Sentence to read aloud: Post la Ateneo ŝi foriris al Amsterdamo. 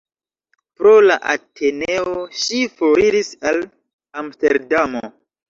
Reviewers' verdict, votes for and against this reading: rejected, 0, 2